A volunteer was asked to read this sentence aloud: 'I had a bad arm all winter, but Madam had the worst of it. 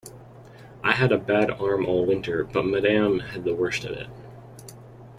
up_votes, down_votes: 2, 0